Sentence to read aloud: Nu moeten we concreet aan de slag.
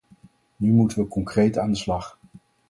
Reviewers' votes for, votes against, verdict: 4, 0, accepted